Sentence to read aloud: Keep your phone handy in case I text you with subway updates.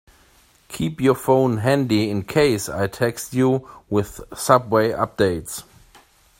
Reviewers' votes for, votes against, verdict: 2, 0, accepted